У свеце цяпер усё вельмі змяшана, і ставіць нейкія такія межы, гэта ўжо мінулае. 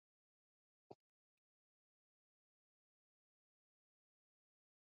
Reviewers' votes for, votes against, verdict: 1, 2, rejected